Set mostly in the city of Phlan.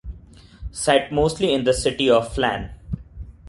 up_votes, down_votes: 2, 0